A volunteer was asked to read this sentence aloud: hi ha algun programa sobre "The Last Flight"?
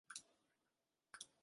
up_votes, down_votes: 0, 2